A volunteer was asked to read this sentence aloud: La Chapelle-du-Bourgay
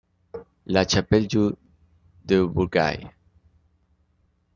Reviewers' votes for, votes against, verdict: 0, 2, rejected